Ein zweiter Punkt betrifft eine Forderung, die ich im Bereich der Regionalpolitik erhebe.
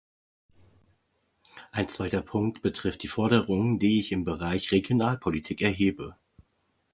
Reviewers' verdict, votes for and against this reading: rejected, 0, 2